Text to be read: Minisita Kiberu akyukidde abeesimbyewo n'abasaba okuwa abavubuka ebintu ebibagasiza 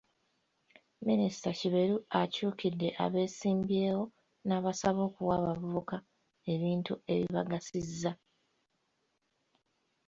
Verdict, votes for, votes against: accepted, 2, 0